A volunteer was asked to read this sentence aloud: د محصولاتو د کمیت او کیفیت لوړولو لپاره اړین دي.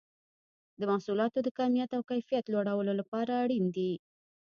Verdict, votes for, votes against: accepted, 2, 1